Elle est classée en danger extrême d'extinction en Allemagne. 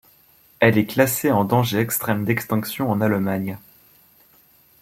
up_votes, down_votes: 2, 1